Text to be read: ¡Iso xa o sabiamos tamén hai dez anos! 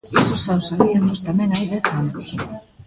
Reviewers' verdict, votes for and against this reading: rejected, 1, 2